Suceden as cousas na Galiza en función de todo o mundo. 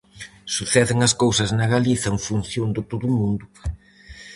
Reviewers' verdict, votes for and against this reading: accepted, 4, 0